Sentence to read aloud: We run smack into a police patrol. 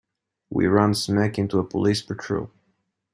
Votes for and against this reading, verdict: 2, 0, accepted